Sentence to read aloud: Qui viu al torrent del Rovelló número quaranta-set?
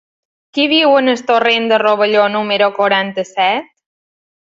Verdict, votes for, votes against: rejected, 2, 4